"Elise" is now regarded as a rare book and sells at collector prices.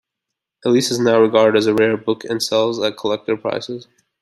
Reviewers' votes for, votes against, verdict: 2, 0, accepted